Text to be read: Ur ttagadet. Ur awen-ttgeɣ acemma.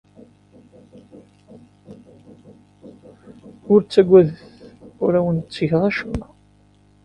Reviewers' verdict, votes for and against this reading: accepted, 2, 0